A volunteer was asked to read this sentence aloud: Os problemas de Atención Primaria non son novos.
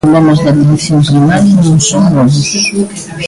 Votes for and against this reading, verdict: 0, 3, rejected